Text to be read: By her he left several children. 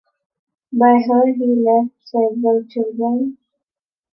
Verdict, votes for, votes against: accepted, 2, 0